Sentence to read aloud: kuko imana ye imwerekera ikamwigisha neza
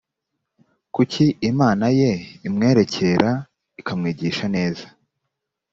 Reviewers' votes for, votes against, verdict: 0, 2, rejected